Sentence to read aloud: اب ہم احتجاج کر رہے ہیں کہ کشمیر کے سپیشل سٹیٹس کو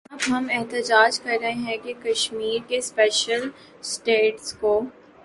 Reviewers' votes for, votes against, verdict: 1, 3, rejected